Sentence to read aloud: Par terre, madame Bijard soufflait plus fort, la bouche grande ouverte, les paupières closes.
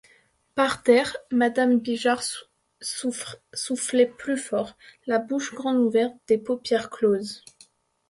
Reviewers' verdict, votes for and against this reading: rejected, 0, 2